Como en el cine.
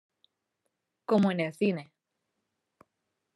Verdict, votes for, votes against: rejected, 0, 2